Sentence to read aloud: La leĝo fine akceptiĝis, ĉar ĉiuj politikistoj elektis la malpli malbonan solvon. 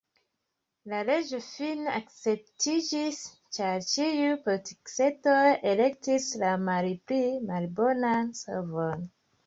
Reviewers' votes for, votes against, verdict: 2, 0, accepted